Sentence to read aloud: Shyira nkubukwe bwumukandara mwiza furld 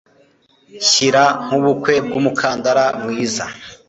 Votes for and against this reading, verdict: 1, 2, rejected